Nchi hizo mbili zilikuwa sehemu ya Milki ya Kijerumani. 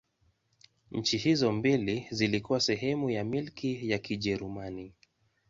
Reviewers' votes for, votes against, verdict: 2, 0, accepted